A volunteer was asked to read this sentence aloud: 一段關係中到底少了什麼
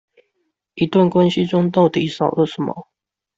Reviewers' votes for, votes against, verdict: 2, 0, accepted